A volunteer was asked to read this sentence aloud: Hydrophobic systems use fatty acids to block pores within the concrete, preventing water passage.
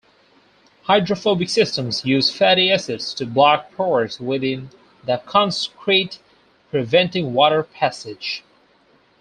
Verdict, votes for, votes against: accepted, 4, 0